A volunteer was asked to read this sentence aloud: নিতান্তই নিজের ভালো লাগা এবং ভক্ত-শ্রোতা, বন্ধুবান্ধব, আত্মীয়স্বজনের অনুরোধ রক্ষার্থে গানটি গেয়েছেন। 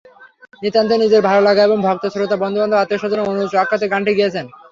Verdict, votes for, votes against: rejected, 3, 6